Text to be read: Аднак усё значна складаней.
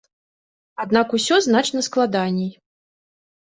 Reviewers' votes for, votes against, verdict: 2, 0, accepted